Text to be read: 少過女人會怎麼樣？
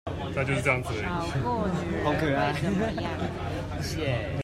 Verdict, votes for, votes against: rejected, 0, 2